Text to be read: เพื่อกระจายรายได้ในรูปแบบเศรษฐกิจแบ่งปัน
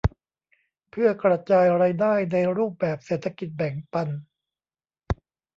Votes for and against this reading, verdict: 0, 2, rejected